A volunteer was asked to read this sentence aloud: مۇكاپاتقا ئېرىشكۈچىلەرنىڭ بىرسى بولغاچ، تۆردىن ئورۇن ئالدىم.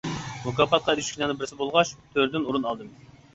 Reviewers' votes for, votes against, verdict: 2, 1, accepted